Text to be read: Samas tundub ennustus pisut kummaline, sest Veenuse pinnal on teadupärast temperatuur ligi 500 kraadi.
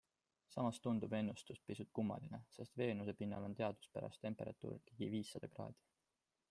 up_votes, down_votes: 0, 2